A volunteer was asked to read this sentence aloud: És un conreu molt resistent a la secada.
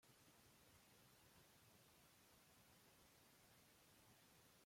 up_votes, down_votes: 0, 2